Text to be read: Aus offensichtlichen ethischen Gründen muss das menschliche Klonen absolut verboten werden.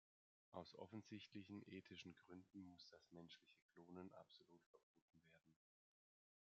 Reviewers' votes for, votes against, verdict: 1, 2, rejected